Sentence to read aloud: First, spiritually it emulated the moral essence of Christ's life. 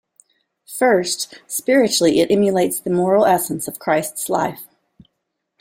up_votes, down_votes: 0, 2